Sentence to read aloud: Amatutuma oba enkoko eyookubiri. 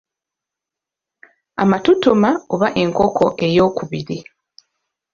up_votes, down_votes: 2, 0